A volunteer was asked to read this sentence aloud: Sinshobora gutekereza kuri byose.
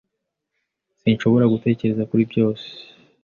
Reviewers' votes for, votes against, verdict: 3, 0, accepted